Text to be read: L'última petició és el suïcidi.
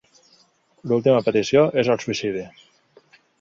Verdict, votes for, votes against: accepted, 3, 0